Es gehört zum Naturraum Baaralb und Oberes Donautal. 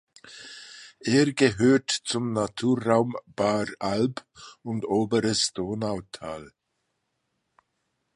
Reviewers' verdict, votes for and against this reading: accepted, 2, 1